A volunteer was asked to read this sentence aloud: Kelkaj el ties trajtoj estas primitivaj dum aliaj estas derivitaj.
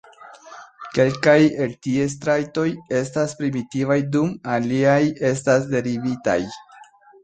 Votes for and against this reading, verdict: 2, 0, accepted